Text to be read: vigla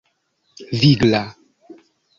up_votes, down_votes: 2, 0